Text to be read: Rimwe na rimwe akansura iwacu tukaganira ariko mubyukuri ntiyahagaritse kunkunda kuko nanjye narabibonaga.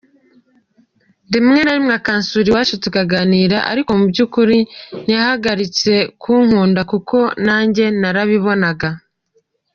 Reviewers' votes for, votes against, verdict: 1, 2, rejected